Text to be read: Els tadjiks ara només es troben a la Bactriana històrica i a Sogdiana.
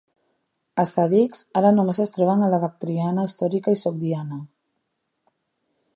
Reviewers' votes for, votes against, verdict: 0, 2, rejected